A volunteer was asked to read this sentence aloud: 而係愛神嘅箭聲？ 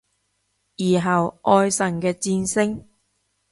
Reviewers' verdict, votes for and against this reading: rejected, 0, 2